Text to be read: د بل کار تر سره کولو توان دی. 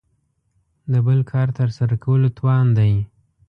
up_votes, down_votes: 2, 0